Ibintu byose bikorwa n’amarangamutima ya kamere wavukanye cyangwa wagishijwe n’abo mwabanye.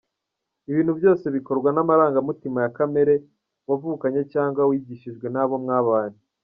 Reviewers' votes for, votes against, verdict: 1, 2, rejected